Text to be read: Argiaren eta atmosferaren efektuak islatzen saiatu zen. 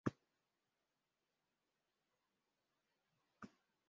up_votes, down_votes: 0, 2